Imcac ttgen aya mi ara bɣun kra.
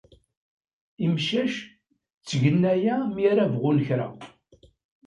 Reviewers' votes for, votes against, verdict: 2, 0, accepted